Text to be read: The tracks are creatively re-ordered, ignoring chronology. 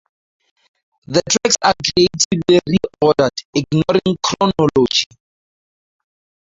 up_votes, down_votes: 2, 0